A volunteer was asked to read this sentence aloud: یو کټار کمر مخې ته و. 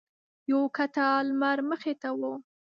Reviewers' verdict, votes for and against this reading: rejected, 0, 2